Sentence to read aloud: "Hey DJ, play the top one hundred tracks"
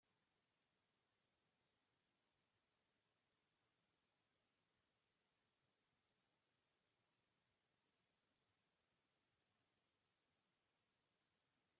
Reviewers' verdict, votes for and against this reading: rejected, 0, 2